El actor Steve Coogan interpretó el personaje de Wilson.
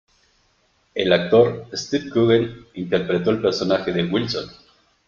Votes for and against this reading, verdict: 2, 0, accepted